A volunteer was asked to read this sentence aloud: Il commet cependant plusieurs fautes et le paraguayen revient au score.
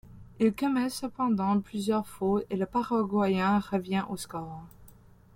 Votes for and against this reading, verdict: 0, 2, rejected